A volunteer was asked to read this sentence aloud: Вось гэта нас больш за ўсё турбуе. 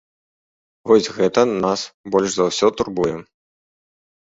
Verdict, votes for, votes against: accepted, 2, 0